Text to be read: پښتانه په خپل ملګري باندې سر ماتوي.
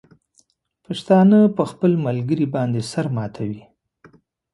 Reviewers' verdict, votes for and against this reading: accepted, 2, 0